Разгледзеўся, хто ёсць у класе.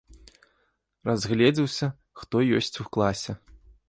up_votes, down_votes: 0, 2